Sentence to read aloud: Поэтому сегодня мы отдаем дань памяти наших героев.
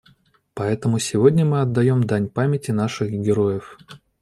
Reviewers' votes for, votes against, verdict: 2, 0, accepted